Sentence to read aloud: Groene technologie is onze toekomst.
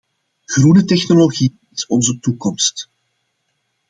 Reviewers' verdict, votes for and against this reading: accepted, 2, 0